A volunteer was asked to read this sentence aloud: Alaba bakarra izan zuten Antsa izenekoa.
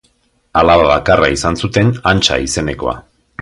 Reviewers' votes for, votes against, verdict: 3, 0, accepted